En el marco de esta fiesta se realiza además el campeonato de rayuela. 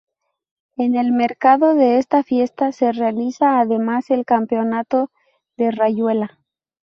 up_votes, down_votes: 0, 2